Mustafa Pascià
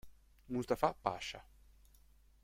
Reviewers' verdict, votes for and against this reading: rejected, 1, 2